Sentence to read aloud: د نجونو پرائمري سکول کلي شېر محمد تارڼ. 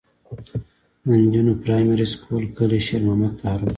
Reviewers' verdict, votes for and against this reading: accepted, 2, 1